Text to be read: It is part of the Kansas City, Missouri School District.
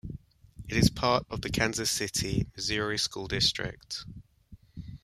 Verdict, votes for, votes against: accepted, 2, 1